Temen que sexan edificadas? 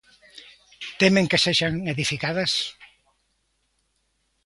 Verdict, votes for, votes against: accepted, 2, 0